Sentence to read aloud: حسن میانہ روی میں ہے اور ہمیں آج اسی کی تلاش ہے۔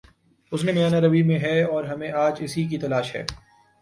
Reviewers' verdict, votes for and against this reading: accepted, 2, 0